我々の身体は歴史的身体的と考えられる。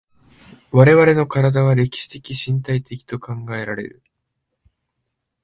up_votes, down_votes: 2, 0